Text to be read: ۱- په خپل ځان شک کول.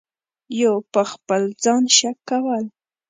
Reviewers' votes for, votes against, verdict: 0, 2, rejected